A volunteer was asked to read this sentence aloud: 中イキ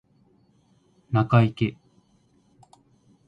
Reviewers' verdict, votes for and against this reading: accepted, 2, 1